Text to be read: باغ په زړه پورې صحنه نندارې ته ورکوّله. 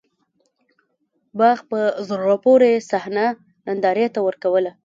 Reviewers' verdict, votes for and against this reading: accepted, 2, 1